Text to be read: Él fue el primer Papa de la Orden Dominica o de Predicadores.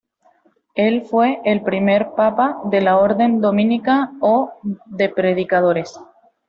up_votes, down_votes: 2, 0